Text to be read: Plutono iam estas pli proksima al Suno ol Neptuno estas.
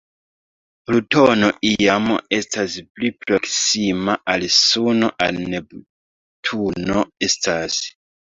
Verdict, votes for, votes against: rejected, 0, 2